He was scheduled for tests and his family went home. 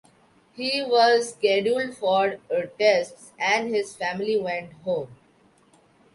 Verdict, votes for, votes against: accepted, 3, 2